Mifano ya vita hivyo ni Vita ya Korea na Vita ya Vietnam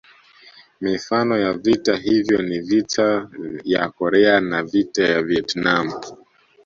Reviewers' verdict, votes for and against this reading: accepted, 2, 0